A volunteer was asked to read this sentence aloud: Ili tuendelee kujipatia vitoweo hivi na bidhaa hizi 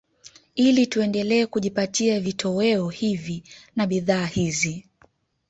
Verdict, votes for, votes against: accepted, 2, 0